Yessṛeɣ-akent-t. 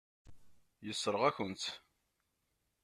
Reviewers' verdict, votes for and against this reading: rejected, 1, 2